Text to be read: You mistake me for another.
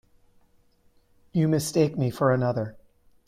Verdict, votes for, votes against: rejected, 1, 2